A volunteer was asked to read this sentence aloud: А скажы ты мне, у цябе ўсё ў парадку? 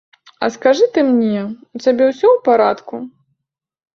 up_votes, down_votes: 2, 0